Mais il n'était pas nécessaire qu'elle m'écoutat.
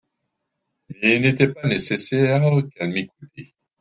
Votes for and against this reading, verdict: 0, 3, rejected